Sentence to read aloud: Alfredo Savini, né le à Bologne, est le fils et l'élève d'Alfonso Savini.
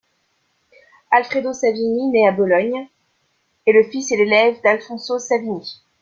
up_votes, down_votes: 1, 2